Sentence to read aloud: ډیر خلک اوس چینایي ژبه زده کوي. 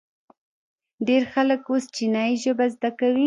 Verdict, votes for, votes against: rejected, 0, 2